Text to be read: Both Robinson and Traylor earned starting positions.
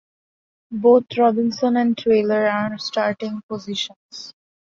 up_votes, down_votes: 2, 0